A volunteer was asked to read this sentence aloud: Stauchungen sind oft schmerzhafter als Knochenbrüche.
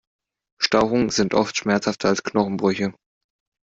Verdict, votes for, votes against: accepted, 2, 0